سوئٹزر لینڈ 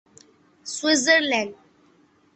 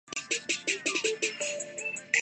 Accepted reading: first